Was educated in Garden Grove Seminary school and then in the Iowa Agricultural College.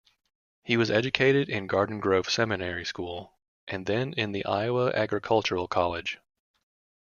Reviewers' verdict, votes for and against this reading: rejected, 1, 2